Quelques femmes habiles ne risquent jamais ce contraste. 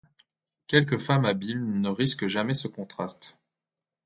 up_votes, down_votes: 1, 2